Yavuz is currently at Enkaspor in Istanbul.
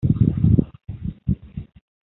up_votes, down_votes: 0, 2